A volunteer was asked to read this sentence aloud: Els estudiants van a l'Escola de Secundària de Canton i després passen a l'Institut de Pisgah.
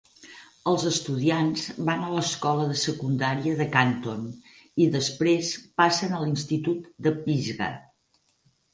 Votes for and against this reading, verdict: 4, 0, accepted